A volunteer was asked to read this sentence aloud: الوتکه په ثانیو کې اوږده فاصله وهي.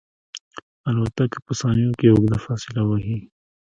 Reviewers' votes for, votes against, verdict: 0, 2, rejected